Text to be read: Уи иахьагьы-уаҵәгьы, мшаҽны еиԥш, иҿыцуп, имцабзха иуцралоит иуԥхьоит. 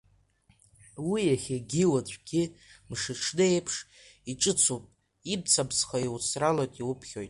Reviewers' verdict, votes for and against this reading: rejected, 1, 2